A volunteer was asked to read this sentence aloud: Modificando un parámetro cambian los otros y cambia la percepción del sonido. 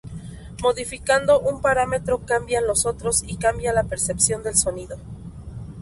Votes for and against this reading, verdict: 2, 2, rejected